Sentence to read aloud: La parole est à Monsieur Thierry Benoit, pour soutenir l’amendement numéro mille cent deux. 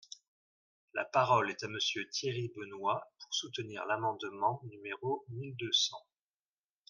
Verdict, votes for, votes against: rejected, 2, 3